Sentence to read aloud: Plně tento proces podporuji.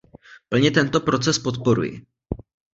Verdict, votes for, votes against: accepted, 2, 0